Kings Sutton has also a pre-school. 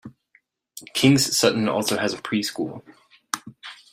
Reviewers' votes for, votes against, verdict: 0, 2, rejected